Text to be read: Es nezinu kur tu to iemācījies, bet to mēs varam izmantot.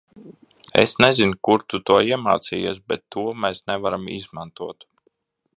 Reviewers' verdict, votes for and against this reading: rejected, 0, 2